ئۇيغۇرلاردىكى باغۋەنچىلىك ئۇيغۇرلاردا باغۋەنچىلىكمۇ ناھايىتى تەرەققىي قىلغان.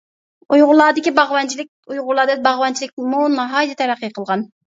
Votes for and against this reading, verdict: 0, 2, rejected